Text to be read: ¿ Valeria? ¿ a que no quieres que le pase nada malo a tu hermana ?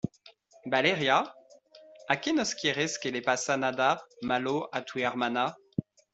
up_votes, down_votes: 0, 2